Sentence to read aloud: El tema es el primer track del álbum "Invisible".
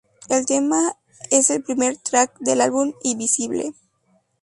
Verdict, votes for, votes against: accepted, 2, 0